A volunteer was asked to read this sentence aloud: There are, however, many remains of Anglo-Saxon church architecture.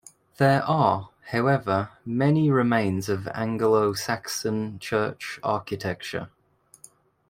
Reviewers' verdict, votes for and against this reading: accepted, 2, 0